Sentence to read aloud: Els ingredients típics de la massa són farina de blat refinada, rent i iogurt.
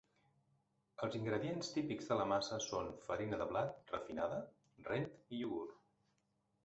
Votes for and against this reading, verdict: 4, 2, accepted